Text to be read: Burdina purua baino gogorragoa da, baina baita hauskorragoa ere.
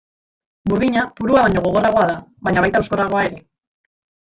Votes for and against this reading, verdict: 0, 2, rejected